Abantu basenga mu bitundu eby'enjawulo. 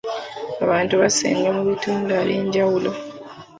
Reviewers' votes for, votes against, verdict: 2, 1, accepted